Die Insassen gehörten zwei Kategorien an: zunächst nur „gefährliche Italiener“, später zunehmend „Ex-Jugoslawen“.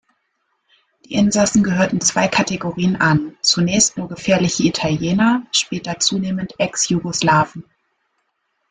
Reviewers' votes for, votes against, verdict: 2, 0, accepted